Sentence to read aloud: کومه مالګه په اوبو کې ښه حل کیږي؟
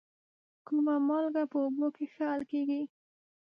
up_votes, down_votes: 0, 2